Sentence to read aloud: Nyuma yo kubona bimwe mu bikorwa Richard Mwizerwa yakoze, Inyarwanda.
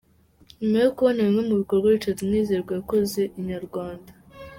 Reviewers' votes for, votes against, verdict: 2, 0, accepted